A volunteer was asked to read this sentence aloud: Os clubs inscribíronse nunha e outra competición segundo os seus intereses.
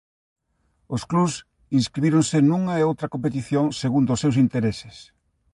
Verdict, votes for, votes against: rejected, 0, 2